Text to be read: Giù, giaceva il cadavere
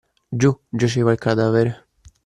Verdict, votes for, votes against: accepted, 2, 0